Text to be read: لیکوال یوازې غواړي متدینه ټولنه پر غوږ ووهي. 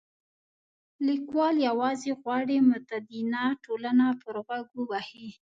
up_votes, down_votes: 1, 2